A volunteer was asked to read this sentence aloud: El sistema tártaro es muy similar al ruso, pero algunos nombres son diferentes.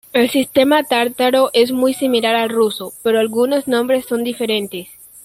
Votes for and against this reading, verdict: 2, 0, accepted